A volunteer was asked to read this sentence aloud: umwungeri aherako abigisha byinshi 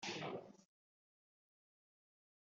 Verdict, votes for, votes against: rejected, 0, 2